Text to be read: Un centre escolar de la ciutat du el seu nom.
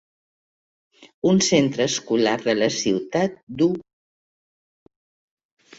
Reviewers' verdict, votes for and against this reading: rejected, 1, 2